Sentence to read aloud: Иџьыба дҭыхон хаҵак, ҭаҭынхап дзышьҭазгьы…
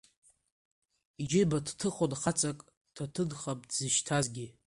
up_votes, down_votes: 2, 0